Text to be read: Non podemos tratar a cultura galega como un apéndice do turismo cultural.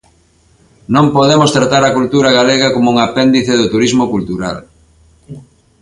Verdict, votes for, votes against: accepted, 2, 0